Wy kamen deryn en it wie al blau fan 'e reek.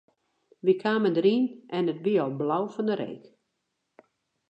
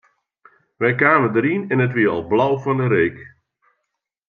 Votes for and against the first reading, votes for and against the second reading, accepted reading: 0, 2, 2, 0, second